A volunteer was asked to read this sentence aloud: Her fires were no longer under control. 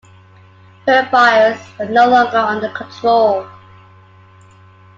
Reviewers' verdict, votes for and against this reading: accepted, 2, 0